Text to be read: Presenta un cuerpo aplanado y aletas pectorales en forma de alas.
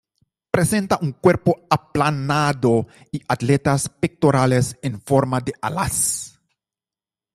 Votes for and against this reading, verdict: 1, 2, rejected